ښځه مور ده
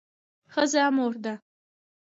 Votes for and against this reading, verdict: 2, 0, accepted